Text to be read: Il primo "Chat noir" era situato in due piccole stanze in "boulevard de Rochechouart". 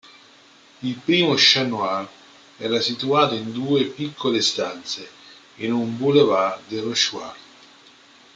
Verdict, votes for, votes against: rejected, 1, 2